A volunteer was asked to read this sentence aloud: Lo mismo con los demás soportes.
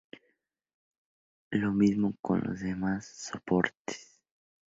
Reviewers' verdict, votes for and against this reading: accepted, 2, 0